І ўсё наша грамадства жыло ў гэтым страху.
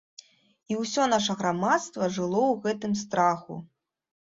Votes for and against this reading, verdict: 2, 0, accepted